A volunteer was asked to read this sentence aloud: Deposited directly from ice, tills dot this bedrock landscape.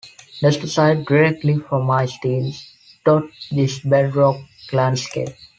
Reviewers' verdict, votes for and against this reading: rejected, 0, 2